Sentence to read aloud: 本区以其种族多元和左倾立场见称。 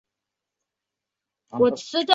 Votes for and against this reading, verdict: 0, 2, rejected